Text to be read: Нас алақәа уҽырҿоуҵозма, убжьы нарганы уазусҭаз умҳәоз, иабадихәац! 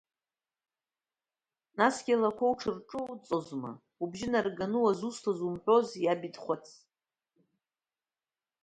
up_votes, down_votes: 0, 2